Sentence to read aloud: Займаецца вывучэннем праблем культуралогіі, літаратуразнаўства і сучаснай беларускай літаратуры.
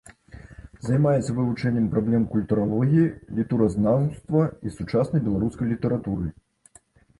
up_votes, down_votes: 0, 2